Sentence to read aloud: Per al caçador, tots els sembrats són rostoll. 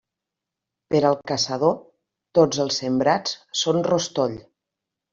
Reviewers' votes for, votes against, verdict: 3, 0, accepted